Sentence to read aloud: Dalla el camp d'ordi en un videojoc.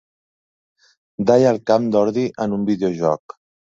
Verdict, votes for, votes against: accepted, 2, 1